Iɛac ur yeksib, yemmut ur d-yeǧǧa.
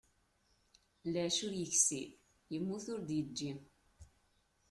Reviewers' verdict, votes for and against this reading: rejected, 1, 2